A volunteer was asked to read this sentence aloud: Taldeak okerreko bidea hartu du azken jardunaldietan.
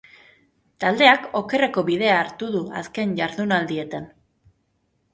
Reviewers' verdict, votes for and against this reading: accepted, 3, 0